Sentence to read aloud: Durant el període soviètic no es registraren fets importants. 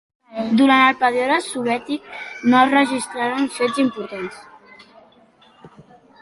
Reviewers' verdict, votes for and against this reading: accepted, 2, 1